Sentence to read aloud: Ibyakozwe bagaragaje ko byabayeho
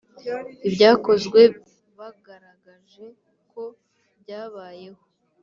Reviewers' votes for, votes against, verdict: 1, 2, rejected